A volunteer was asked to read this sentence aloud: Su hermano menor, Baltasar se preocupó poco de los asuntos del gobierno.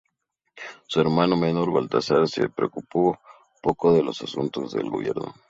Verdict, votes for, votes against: accepted, 4, 0